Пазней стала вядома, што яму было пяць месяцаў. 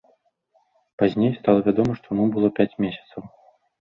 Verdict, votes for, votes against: rejected, 0, 2